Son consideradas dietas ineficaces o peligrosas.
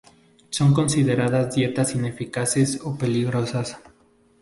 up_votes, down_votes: 0, 2